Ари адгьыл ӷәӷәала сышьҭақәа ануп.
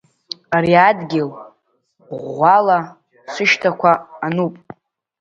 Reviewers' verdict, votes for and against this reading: rejected, 1, 2